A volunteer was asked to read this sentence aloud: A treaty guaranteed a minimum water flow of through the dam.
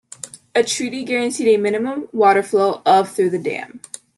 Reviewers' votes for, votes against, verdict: 2, 0, accepted